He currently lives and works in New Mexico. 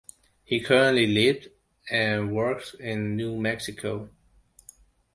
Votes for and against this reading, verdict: 2, 0, accepted